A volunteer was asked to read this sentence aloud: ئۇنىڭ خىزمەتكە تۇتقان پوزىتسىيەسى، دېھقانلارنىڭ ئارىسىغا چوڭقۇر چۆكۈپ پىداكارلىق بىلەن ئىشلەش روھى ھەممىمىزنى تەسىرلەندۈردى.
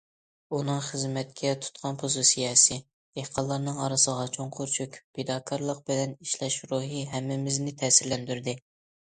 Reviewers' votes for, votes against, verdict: 2, 0, accepted